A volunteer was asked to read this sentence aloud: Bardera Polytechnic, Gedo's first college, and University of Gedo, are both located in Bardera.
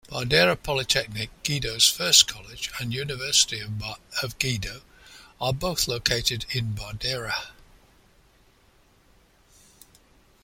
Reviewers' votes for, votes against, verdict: 1, 2, rejected